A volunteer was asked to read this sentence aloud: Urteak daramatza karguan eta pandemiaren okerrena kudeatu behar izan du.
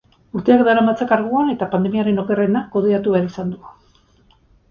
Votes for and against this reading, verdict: 2, 2, rejected